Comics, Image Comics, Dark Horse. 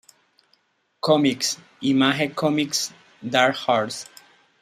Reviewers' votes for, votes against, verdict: 1, 2, rejected